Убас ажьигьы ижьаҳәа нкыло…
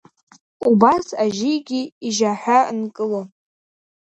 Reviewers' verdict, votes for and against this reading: accepted, 2, 0